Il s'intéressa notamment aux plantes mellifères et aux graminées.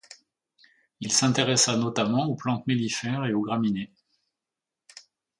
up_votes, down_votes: 2, 0